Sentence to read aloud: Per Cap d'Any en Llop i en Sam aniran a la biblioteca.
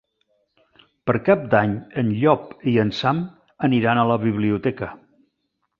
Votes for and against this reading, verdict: 3, 0, accepted